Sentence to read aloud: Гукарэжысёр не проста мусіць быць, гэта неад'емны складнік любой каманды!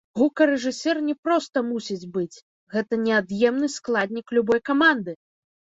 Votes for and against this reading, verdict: 0, 2, rejected